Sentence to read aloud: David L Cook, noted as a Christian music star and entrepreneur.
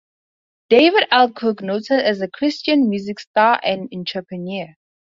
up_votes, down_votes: 4, 0